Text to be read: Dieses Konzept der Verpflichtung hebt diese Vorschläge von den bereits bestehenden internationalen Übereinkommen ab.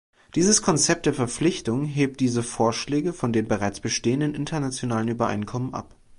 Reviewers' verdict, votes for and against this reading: accepted, 2, 0